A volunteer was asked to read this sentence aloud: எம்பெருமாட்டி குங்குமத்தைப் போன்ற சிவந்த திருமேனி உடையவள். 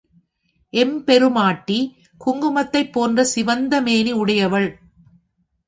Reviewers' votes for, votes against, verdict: 3, 0, accepted